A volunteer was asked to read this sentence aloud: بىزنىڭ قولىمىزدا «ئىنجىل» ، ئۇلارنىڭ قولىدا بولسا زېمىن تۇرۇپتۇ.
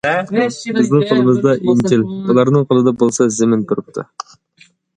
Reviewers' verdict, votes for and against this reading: rejected, 1, 2